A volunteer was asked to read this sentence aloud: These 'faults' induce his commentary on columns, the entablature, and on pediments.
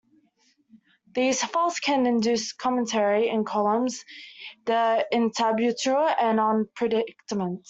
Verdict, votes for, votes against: rejected, 0, 2